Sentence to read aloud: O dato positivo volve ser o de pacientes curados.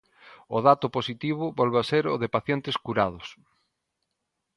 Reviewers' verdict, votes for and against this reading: rejected, 0, 2